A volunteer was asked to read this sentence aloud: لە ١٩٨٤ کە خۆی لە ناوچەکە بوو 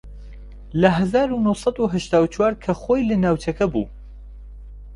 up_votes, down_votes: 0, 2